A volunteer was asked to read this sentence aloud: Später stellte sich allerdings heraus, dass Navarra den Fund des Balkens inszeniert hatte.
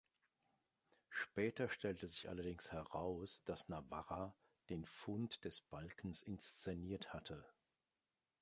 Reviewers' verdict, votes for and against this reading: accepted, 2, 1